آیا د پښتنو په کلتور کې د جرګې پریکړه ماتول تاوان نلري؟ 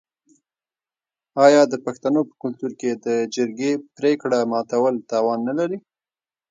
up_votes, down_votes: 1, 2